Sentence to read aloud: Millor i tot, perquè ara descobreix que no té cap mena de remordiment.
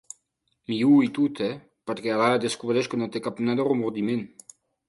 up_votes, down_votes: 1, 2